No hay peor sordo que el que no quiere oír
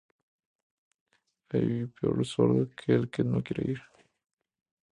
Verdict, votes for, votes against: accepted, 2, 0